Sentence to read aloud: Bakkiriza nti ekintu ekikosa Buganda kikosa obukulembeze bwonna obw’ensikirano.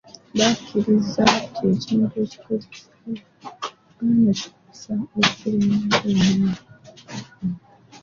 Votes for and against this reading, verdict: 0, 4, rejected